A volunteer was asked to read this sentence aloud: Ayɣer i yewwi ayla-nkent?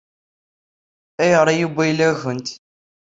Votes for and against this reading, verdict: 2, 0, accepted